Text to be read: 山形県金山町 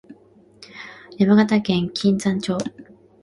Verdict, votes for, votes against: accepted, 2, 0